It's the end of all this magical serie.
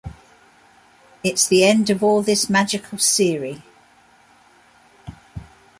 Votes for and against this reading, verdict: 2, 0, accepted